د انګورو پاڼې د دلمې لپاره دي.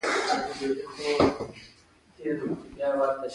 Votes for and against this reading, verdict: 1, 2, rejected